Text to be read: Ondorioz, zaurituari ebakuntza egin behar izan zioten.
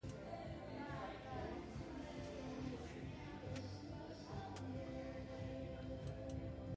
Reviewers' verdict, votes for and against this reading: rejected, 0, 2